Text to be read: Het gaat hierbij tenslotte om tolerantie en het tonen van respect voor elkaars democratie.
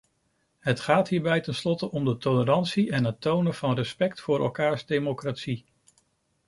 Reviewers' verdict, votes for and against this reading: rejected, 0, 2